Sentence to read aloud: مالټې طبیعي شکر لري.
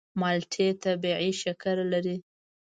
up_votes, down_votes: 2, 0